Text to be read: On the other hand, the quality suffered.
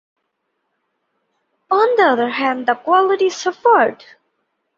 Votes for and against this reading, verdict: 2, 0, accepted